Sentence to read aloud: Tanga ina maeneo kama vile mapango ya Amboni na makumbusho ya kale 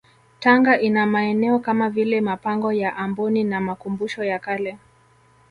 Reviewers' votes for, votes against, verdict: 2, 0, accepted